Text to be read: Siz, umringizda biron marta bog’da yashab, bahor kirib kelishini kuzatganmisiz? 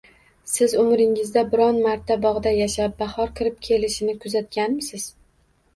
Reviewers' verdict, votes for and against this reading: accepted, 2, 0